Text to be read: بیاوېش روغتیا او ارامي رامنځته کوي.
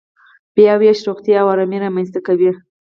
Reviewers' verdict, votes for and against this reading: accepted, 4, 2